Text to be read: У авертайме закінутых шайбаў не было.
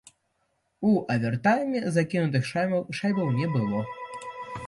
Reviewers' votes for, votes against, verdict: 0, 2, rejected